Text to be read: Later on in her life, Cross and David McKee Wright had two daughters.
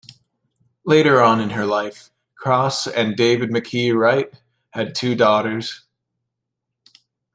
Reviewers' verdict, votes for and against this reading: accepted, 2, 0